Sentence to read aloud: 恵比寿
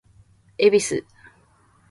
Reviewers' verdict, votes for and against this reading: rejected, 0, 2